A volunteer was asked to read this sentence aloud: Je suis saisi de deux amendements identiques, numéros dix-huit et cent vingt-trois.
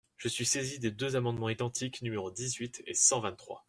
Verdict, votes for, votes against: accepted, 2, 1